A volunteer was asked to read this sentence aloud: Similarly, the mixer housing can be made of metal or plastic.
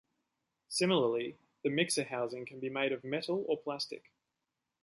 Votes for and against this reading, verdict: 3, 0, accepted